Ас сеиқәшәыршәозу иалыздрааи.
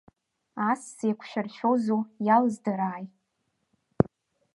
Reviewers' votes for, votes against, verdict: 2, 0, accepted